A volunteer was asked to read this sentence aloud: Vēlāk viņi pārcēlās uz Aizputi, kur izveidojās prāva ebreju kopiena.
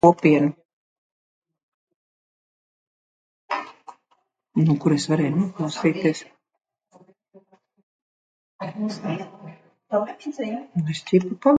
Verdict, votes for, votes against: rejected, 0, 2